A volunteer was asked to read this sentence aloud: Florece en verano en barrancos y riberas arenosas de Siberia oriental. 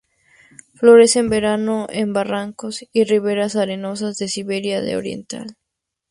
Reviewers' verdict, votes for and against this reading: rejected, 0, 2